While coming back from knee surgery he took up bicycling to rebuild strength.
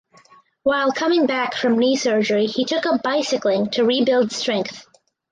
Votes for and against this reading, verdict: 4, 0, accepted